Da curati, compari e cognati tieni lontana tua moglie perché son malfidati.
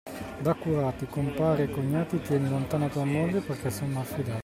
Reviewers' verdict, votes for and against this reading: rejected, 1, 2